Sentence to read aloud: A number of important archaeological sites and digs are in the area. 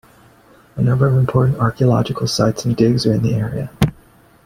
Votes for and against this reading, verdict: 2, 0, accepted